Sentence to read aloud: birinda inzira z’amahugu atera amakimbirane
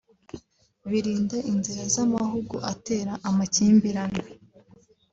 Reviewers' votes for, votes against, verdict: 2, 0, accepted